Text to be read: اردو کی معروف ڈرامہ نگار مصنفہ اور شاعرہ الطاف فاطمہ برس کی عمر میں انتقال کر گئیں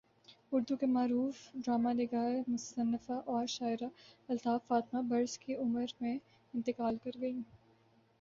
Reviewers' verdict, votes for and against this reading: rejected, 4, 4